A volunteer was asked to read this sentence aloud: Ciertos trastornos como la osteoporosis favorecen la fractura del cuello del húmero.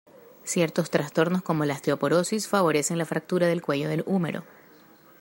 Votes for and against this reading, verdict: 2, 0, accepted